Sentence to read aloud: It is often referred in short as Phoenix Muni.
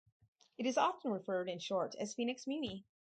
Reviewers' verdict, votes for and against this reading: rejected, 2, 2